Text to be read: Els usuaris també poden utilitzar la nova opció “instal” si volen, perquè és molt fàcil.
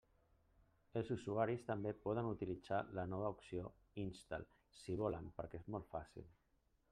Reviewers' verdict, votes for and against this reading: accepted, 3, 0